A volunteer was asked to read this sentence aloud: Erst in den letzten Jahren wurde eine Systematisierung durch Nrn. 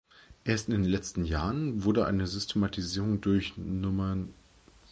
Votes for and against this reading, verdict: 1, 2, rejected